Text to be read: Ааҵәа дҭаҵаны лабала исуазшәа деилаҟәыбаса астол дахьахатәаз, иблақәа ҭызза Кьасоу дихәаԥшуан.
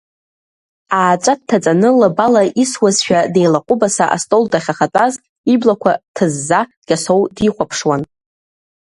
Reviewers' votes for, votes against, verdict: 2, 1, accepted